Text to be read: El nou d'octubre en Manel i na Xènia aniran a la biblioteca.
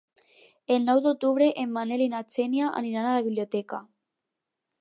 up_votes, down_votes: 2, 2